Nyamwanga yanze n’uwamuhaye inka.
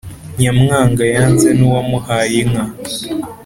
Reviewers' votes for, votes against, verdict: 2, 0, accepted